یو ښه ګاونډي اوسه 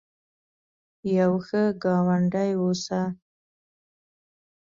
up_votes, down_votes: 2, 1